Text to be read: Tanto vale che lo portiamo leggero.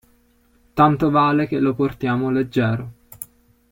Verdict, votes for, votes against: accepted, 2, 0